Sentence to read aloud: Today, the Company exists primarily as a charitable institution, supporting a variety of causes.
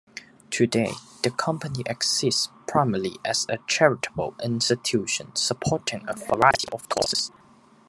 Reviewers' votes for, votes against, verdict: 0, 2, rejected